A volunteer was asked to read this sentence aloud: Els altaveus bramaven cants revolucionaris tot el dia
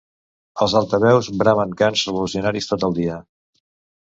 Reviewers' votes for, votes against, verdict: 0, 2, rejected